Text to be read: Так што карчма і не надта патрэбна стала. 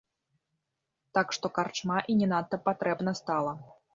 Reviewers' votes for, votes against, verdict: 3, 0, accepted